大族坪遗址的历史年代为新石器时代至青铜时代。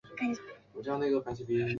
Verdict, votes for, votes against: rejected, 0, 2